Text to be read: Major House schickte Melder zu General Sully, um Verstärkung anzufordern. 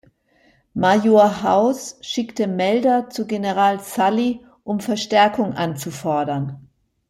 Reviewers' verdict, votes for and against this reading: accepted, 2, 1